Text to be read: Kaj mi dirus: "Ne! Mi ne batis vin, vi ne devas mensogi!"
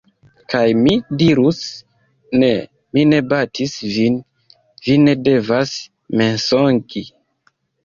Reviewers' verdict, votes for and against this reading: rejected, 1, 2